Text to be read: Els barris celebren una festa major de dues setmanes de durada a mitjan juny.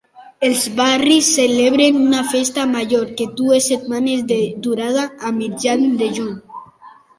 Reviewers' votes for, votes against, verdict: 2, 1, accepted